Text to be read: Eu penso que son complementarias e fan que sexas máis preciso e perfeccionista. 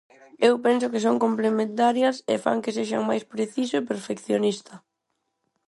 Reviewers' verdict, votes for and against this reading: rejected, 2, 4